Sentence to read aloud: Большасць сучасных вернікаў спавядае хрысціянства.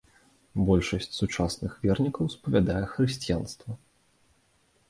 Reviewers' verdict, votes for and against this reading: accepted, 2, 0